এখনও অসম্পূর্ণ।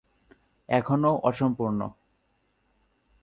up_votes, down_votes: 2, 0